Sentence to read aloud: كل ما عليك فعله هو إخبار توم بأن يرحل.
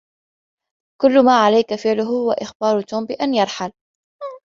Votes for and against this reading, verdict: 2, 0, accepted